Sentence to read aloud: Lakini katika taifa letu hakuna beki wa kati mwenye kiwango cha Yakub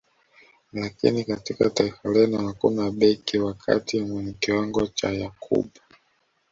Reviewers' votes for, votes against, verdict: 0, 2, rejected